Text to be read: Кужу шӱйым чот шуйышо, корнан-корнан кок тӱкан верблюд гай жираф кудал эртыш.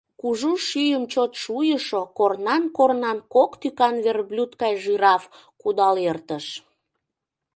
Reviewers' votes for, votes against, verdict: 2, 0, accepted